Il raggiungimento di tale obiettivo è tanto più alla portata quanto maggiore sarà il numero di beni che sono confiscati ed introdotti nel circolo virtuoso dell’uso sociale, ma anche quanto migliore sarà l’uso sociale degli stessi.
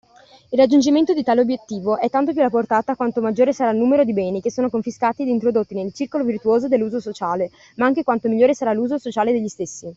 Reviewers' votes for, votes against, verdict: 2, 0, accepted